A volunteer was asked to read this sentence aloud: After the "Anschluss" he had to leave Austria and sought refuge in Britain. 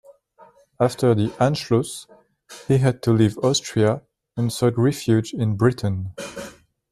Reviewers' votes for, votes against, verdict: 2, 0, accepted